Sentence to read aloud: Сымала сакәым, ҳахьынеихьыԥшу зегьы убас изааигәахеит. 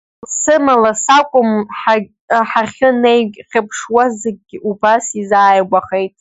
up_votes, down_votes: 0, 2